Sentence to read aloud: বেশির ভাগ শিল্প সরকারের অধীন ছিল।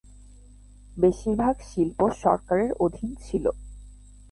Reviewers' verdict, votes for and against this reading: accepted, 23, 1